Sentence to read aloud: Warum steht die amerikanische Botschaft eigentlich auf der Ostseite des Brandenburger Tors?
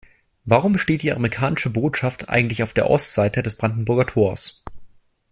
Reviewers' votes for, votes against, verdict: 2, 0, accepted